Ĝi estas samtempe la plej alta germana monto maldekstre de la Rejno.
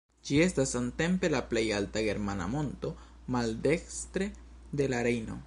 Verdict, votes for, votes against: accepted, 2, 0